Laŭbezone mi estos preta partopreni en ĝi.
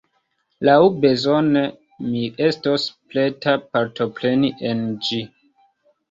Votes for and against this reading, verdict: 1, 2, rejected